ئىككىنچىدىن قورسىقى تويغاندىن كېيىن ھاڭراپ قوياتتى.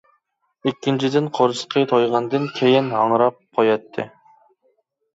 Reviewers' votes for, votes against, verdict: 2, 0, accepted